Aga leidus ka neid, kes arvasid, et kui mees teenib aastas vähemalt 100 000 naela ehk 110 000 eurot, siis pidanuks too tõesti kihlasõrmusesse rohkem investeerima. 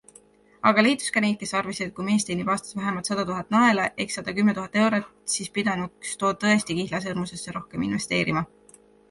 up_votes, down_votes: 0, 2